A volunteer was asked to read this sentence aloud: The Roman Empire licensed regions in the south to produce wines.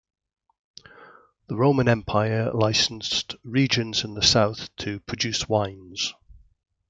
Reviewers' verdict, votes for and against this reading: accepted, 2, 0